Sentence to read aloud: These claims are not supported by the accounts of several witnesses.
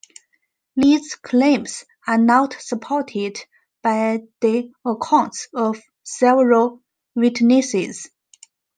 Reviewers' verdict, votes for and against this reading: rejected, 1, 2